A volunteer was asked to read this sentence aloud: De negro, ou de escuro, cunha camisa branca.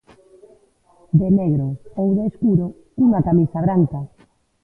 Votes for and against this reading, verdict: 1, 2, rejected